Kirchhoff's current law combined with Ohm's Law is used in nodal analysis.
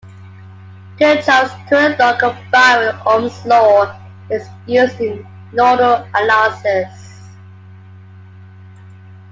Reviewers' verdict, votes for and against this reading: accepted, 2, 0